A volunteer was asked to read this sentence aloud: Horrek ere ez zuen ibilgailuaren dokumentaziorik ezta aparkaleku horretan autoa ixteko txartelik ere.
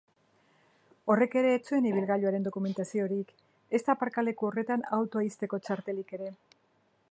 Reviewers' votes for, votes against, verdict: 1, 2, rejected